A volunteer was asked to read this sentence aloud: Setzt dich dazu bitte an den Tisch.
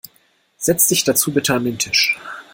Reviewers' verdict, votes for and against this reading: rejected, 1, 2